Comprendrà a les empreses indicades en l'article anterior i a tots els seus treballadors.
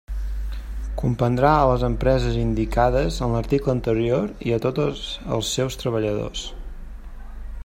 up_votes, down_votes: 0, 2